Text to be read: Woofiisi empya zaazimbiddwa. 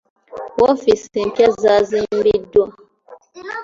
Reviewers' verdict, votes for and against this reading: accepted, 2, 0